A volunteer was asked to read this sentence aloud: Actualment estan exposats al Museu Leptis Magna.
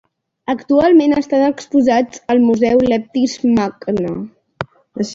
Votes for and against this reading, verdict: 1, 2, rejected